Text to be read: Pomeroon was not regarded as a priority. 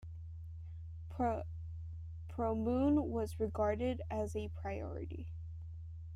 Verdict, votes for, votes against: rejected, 0, 2